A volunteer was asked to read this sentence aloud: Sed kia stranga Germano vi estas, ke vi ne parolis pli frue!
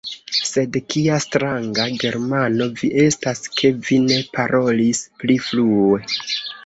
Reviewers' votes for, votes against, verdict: 2, 1, accepted